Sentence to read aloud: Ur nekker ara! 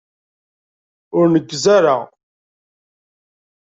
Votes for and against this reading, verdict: 0, 2, rejected